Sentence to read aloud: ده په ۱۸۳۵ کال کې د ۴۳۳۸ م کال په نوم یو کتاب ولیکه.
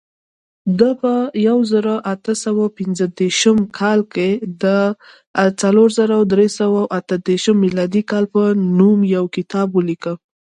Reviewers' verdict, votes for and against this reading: rejected, 0, 2